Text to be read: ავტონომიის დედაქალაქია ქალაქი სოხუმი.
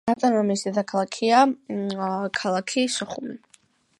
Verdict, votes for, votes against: accepted, 2, 0